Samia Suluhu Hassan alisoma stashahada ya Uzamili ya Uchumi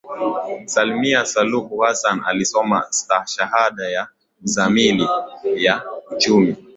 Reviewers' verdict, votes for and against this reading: accepted, 13, 1